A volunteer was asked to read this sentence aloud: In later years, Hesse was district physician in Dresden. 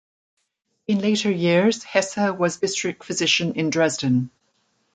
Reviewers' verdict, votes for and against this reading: accepted, 2, 0